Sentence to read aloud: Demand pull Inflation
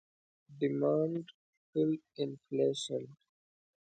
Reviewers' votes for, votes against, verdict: 1, 2, rejected